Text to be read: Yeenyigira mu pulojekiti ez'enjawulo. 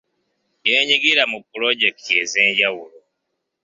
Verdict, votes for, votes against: accepted, 2, 0